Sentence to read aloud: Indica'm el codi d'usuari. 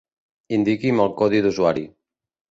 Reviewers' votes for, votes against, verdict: 0, 3, rejected